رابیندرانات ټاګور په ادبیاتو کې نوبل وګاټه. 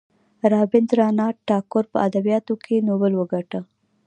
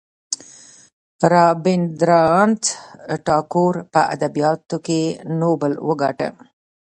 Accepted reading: first